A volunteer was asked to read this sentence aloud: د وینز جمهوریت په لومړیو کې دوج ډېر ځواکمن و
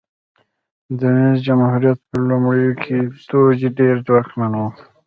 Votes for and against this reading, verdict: 0, 2, rejected